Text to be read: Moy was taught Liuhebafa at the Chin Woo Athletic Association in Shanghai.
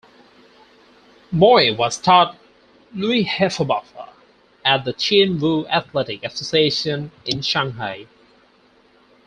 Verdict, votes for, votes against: accepted, 6, 4